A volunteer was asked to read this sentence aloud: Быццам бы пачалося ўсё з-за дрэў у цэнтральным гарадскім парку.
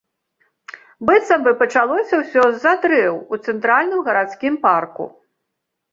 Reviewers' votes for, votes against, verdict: 2, 0, accepted